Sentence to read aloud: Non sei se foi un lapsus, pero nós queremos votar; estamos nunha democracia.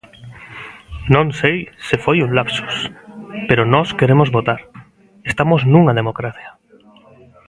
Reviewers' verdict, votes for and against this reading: accepted, 2, 0